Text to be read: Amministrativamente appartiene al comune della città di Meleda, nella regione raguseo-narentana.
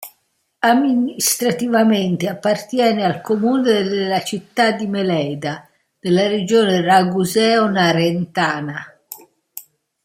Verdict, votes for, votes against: accepted, 2, 0